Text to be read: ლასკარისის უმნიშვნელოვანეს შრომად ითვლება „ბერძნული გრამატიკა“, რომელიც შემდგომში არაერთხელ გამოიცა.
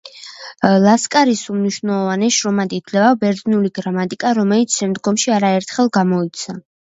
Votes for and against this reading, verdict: 2, 0, accepted